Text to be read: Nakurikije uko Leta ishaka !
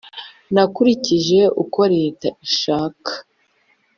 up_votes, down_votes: 2, 0